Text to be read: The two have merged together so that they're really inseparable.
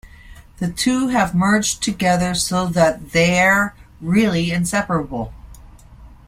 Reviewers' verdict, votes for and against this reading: accepted, 2, 0